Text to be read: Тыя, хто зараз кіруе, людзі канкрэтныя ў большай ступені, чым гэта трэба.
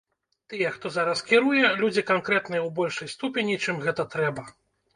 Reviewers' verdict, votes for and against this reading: rejected, 1, 2